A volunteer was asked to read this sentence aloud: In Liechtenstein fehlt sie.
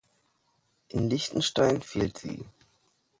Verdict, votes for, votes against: accepted, 2, 1